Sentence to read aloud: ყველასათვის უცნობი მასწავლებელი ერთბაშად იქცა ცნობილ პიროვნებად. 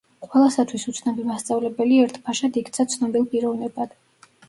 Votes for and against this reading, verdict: 0, 2, rejected